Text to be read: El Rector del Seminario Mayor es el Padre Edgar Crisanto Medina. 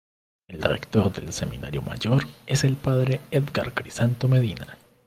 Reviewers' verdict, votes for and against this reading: rejected, 1, 2